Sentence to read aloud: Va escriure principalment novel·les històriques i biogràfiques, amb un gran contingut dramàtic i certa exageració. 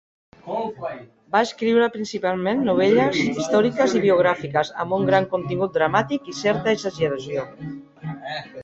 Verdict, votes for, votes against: rejected, 0, 2